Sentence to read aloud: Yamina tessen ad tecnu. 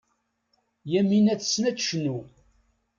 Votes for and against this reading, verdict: 2, 0, accepted